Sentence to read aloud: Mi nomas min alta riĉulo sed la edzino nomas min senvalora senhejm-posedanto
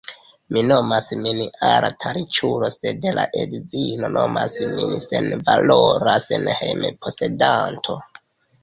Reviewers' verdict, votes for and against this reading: rejected, 0, 2